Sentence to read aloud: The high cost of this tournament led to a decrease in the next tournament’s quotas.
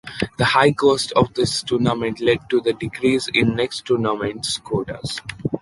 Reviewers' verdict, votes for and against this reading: rejected, 1, 2